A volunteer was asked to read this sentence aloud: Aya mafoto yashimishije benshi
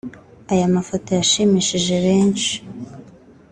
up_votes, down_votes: 3, 0